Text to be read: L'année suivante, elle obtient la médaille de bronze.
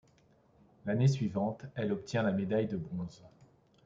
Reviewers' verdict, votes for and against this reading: accepted, 2, 0